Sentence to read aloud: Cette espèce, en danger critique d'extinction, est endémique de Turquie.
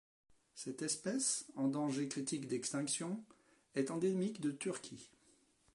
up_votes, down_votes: 2, 0